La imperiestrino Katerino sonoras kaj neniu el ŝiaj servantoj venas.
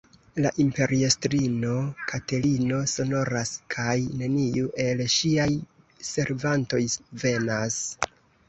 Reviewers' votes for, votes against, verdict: 0, 2, rejected